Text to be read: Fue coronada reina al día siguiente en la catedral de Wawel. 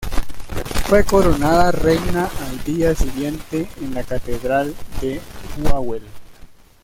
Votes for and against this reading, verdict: 0, 2, rejected